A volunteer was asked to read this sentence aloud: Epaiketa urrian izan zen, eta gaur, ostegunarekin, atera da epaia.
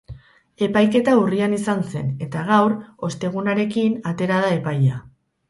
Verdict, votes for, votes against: rejected, 2, 2